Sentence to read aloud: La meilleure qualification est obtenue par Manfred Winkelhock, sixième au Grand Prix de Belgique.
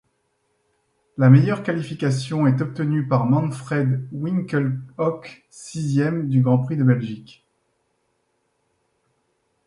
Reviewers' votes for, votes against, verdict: 1, 2, rejected